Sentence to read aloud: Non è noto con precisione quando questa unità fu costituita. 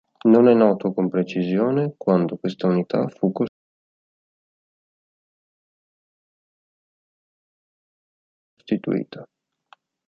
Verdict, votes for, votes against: rejected, 1, 2